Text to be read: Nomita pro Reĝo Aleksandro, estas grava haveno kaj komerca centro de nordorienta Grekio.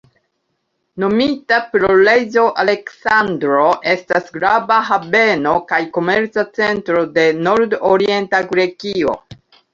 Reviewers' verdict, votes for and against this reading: rejected, 1, 2